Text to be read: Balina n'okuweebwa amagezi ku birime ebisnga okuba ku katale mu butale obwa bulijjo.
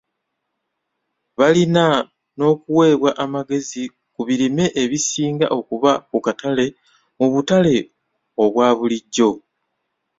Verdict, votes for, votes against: accepted, 2, 1